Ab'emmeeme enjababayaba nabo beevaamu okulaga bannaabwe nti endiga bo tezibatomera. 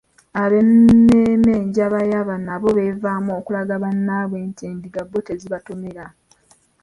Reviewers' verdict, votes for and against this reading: rejected, 1, 2